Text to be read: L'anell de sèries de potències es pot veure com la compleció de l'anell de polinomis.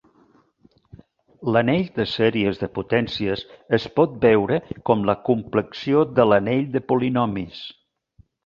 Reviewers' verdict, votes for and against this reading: rejected, 0, 3